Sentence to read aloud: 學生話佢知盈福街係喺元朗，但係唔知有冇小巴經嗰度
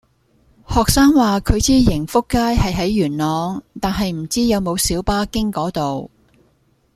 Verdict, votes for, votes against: accepted, 2, 0